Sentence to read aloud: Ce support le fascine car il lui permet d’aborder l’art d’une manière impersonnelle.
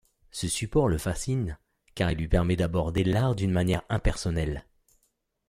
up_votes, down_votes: 2, 0